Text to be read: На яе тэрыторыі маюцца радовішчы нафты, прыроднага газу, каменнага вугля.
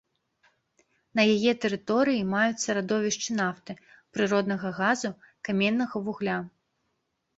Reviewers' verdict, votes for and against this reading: accepted, 2, 0